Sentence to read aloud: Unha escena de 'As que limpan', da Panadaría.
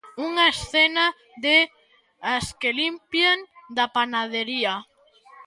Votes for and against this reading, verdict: 0, 2, rejected